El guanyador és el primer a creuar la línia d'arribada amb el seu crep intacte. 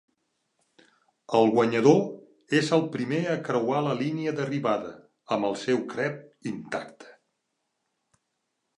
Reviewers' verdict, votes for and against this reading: accepted, 5, 0